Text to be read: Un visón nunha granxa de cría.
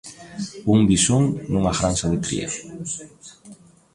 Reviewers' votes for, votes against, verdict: 1, 2, rejected